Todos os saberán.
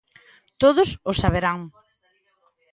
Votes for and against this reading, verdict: 2, 0, accepted